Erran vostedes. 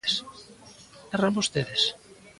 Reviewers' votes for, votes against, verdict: 2, 1, accepted